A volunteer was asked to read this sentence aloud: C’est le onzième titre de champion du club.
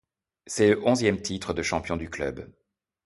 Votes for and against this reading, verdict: 0, 2, rejected